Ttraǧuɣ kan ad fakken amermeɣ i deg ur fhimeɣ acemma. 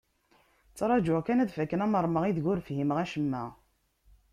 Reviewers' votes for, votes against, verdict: 2, 0, accepted